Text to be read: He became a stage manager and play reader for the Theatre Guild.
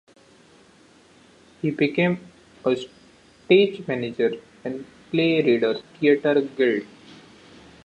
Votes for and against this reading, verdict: 0, 2, rejected